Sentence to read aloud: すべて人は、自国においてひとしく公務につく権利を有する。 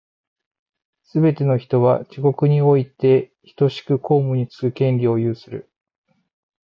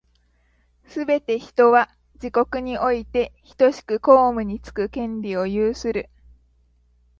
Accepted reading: second